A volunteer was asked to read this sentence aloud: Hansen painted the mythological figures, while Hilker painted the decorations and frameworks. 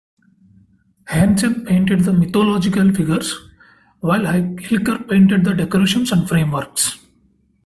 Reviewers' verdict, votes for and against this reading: accepted, 2, 0